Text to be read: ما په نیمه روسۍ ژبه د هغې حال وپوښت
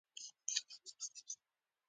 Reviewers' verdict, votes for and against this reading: rejected, 1, 2